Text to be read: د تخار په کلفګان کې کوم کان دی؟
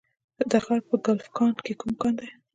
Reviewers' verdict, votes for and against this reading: accepted, 2, 0